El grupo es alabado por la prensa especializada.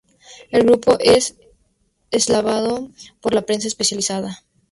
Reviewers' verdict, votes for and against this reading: accepted, 2, 0